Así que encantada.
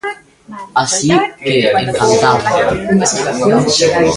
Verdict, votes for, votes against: rejected, 0, 2